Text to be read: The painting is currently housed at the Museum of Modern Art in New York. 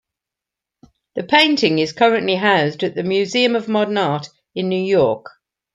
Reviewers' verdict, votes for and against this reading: accepted, 2, 0